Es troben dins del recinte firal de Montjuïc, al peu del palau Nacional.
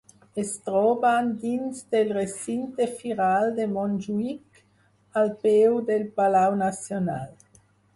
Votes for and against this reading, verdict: 4, 0, accepted